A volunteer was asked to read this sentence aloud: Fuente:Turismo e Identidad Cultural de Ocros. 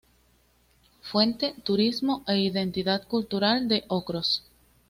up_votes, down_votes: 2, 0